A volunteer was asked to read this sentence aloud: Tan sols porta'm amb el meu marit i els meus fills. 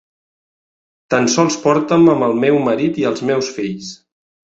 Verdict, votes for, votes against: accepted, 2, 0